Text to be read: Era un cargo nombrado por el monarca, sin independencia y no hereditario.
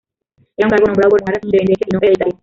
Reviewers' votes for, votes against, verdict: 0, 2, rejected